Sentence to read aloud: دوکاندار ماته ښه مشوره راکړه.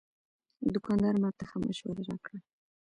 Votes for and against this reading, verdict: 0, 2, rejected